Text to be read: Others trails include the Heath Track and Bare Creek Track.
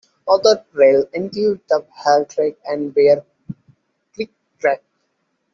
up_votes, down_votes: 0, 2